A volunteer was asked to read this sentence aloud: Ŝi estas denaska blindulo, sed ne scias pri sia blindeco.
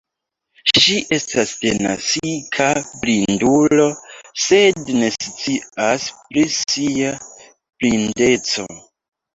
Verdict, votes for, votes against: rejected, 0, 2